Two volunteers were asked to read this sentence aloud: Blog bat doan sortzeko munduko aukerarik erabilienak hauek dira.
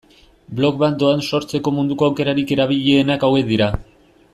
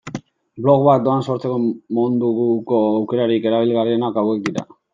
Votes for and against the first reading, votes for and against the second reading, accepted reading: 2, 0, 0, 2, first